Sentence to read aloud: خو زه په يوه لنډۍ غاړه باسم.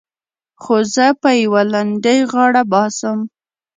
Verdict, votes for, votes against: rejected, 1, 2